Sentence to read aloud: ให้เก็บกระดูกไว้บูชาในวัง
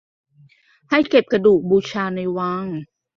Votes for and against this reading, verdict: 1, 2, rejected